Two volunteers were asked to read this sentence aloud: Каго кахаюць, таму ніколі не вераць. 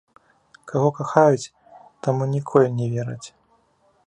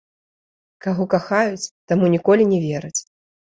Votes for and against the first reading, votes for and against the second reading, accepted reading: 2, 0, 0, 2, first